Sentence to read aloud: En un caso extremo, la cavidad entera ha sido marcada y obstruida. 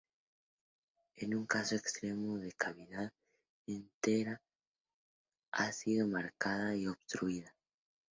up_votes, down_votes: 2, 0